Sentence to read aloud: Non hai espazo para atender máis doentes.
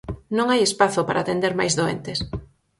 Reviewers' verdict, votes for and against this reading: accepted, 4, 0